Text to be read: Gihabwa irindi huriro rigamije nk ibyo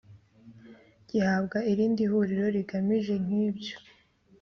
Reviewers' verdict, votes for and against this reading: accepted, 2, 1